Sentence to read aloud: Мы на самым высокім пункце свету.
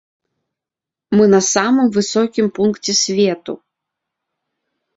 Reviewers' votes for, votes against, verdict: 2, 0, accepted